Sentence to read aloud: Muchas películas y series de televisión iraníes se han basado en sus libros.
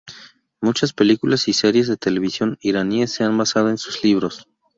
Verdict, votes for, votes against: rejected, 0, 2